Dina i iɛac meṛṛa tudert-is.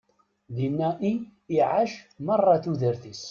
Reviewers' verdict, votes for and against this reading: rejected, 1, 2